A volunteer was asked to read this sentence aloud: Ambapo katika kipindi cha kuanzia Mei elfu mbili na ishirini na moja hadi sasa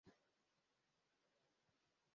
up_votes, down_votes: 0, 2